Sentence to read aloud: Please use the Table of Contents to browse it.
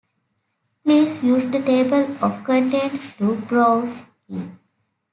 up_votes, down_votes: 2, 0